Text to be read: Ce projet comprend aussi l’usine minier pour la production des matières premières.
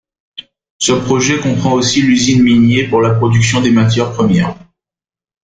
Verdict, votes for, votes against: accepted, 2, 1